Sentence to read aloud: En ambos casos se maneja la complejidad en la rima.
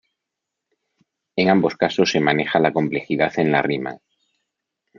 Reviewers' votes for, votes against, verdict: 2, 0, accepted